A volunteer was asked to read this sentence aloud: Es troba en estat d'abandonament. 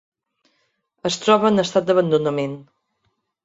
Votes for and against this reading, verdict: 2, 0, accepted